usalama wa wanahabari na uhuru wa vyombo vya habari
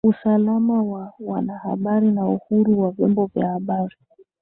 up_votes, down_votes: 2, 1